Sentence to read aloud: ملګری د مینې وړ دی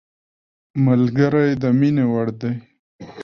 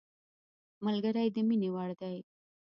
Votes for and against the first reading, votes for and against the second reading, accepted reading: 2, 1, 1, 2, first